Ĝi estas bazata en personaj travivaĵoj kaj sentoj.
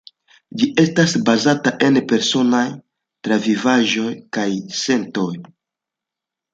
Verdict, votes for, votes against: accepted, 2, 0